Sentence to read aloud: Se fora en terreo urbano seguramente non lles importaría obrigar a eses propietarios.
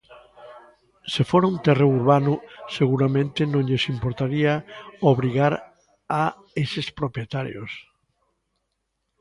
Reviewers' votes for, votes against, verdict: 1, 2, rejected